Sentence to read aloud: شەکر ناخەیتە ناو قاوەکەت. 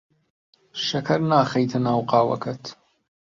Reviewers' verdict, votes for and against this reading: rejected, 1, 2